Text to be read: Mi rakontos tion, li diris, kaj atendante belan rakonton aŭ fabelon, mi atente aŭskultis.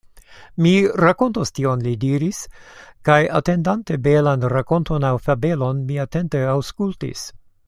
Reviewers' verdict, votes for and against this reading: accepted, 2, 0